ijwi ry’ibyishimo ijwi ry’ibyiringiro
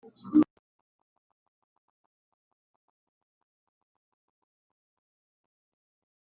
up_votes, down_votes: 0, 2